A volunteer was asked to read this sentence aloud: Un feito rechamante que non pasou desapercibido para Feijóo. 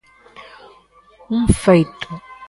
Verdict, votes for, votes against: rejected, 0, 2